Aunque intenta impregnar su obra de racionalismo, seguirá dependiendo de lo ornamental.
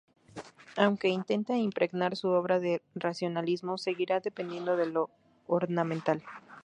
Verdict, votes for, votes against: rejected, 0, 2